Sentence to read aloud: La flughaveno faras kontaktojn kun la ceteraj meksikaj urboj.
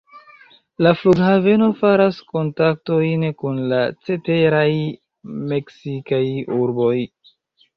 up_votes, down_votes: 0, 2